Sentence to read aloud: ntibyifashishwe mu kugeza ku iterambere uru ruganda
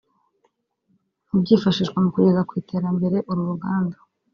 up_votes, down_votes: 1, 2